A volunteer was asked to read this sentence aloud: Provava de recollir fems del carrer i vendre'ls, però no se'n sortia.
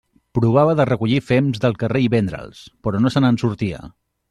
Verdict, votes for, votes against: rejected, 1, 2